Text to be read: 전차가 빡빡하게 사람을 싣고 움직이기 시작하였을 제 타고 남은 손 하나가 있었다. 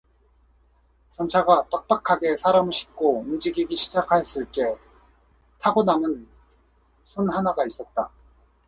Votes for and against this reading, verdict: 0, 2, rejected